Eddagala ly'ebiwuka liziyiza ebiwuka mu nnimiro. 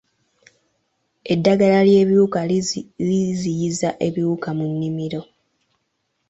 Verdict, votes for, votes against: rejected, 1, 2